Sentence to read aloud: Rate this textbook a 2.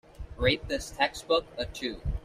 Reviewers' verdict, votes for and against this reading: rejected, 0, 2